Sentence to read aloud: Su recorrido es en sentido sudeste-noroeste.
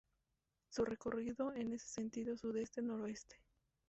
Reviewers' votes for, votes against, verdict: 2, 0, accepted